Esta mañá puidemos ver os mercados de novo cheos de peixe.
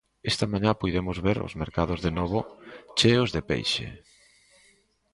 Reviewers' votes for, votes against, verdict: 2, 0, accepted